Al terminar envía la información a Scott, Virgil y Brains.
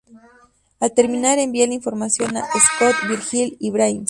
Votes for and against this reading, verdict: 2, 0, accepted